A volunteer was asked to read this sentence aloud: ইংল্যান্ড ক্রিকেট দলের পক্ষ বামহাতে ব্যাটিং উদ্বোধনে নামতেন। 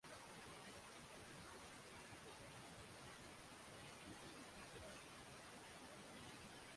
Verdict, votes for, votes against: rejected, 0, 2